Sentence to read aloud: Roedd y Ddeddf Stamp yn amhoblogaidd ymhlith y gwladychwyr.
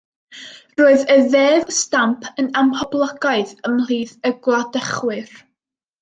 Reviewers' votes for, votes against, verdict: 2, 0, accepted